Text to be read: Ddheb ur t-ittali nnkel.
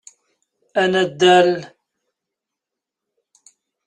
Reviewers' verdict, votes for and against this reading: rejected, 0, 2